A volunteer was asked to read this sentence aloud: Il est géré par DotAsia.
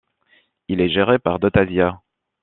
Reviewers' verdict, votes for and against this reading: accepted, 2, 0